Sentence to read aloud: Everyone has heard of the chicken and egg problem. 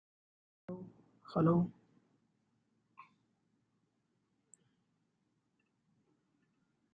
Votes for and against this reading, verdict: 0, 2, rejected